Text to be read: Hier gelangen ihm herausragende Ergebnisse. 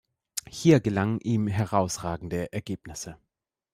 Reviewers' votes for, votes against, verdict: 2, 0, accepted